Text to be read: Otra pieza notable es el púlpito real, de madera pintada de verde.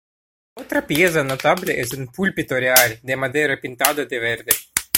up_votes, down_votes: 2, 1